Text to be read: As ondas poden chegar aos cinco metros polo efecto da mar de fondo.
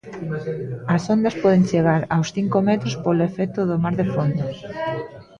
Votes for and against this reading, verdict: 0, 4, rejected